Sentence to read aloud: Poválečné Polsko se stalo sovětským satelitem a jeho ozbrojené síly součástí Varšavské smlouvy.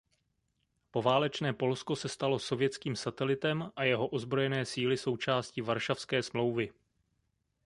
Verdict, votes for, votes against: accepted, 2, 0